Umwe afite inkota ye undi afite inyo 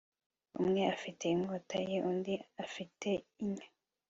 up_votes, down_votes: 2, 0